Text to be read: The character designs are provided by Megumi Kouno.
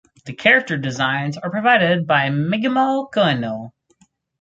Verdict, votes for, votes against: rejected, 2, 2